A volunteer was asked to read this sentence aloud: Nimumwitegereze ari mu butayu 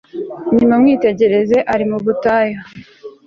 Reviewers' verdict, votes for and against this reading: accepted, 2, 0